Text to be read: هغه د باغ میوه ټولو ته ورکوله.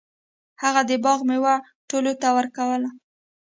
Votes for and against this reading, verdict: 2, 0, accepted